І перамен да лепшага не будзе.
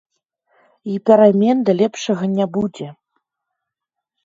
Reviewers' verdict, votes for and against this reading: accepted, 2, 0